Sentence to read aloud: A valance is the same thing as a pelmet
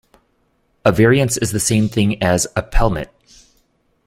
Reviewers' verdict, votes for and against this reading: rejected, 0, 2